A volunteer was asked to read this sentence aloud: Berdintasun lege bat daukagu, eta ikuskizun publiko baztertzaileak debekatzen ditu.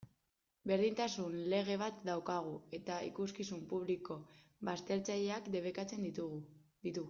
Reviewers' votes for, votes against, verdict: 0, 2, rejected